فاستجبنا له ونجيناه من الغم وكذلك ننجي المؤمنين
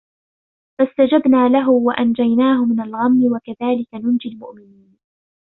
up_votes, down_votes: 1, 2